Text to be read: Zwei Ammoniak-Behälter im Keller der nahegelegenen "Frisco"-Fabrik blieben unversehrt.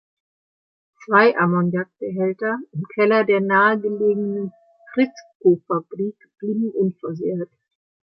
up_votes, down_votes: 2, 0